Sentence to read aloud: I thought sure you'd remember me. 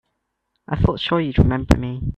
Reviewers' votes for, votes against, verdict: 3, 0, accepted